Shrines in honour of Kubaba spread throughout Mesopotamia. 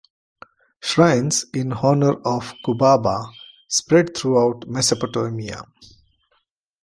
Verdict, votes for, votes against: accepted, 2, 1